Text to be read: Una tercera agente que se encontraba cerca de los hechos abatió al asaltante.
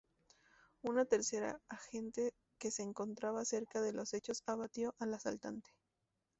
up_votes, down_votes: 2, 0